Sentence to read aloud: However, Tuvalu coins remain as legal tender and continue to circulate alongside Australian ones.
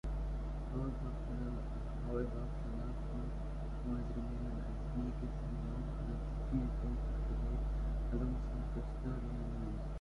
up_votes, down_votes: 0, 2